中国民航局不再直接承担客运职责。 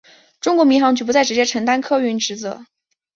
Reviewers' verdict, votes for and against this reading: accepted, 2, 0